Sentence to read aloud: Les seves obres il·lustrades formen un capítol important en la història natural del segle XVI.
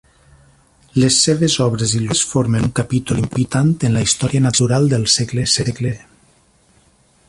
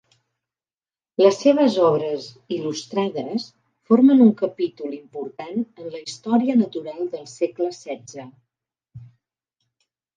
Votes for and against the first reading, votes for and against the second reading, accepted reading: 0, 2, 2, 0, second